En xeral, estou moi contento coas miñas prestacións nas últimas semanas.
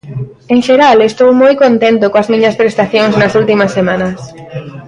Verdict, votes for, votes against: accepted, 2, 0